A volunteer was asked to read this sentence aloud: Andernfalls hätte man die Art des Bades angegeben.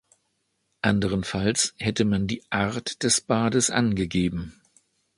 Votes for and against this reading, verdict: 1, 2, rejected